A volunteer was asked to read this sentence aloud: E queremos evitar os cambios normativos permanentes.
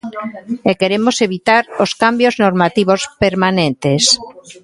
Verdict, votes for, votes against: rejected, 1, 2